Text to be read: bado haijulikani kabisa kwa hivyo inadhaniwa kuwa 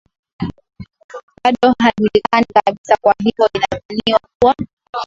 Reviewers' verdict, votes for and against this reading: accepted, 2, 1